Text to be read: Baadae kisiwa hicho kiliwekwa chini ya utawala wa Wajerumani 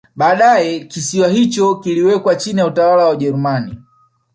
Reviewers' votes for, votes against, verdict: 1, 2, rejected